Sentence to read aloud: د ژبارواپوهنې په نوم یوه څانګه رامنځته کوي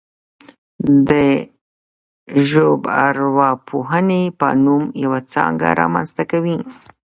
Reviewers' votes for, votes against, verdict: 0, 2, rejected